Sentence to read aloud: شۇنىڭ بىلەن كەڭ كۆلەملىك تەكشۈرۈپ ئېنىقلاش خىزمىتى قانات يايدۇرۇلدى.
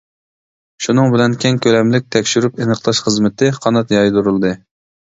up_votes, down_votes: 2, 0